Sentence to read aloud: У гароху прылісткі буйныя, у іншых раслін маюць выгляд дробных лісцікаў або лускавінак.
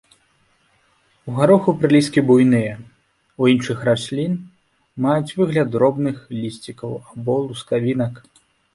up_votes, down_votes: 2, 0